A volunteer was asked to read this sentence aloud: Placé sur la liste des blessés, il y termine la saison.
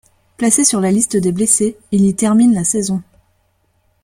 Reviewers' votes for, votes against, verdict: 3, 0, accepted